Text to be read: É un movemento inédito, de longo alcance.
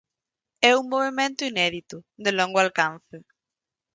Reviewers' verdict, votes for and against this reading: accepted, 4, 0